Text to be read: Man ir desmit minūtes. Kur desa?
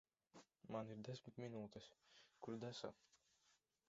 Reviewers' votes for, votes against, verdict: 1, 2, rejected